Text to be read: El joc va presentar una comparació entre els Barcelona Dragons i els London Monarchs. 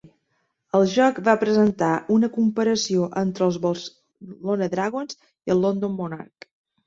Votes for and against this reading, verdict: 0, 2, rejected